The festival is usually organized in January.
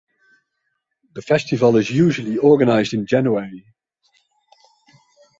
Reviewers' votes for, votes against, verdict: 3, 0, accepted